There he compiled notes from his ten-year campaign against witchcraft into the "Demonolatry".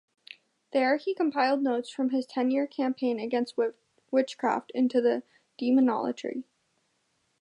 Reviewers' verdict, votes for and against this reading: rejected, 0, 2